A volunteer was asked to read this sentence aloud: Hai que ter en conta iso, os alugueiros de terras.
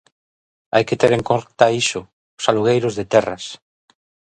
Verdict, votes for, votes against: rejected, 0, 2